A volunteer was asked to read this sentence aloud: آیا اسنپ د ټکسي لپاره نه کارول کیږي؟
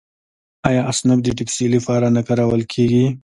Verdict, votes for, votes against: accepted, 2, 0